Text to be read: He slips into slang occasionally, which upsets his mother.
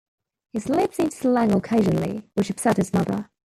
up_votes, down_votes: 1, 2